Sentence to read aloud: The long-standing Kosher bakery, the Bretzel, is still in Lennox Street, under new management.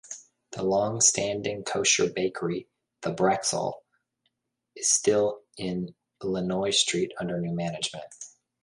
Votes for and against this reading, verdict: 1, 2, rejected